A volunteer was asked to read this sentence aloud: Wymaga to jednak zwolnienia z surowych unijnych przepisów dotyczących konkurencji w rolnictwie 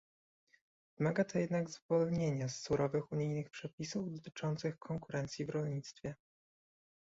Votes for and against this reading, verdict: 1, 2, rejected